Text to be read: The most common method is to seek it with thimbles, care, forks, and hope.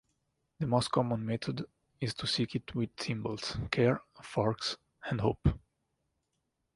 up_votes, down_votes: 1, 2